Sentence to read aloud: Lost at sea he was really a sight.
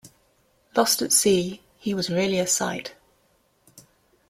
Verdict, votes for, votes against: accepted, 2, 0